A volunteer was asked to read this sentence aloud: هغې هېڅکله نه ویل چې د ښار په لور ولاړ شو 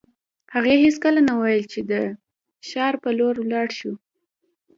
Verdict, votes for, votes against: accepted, 2, 1